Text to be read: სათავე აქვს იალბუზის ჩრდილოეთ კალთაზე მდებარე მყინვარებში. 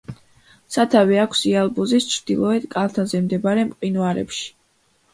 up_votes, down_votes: 2, 0